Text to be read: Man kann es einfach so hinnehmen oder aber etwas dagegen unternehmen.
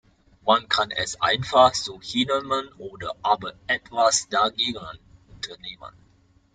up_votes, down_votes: 1, 2